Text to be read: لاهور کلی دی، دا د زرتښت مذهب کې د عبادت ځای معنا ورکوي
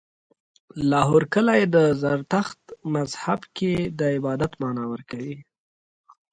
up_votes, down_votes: 2, 1